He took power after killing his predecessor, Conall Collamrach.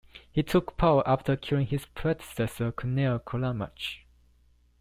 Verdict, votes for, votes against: accepted, 2, 0